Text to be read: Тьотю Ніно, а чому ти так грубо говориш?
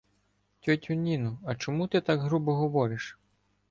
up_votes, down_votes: 2, 0